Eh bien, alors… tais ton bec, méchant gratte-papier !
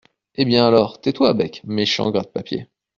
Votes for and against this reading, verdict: 0, 2, rejected